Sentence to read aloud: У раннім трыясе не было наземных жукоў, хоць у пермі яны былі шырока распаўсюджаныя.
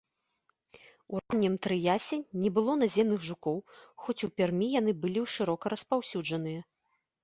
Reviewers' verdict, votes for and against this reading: rejected, 1, 2